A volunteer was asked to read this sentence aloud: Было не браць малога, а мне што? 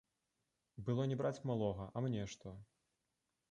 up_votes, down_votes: 2, 0